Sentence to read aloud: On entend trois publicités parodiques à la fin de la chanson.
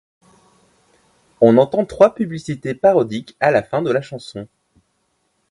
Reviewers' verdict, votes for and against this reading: accepted, 2, 0